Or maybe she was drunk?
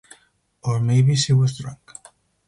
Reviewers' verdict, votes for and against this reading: rejected, 2, 2